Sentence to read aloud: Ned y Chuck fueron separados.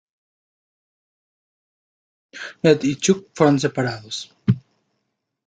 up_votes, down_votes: 2, 0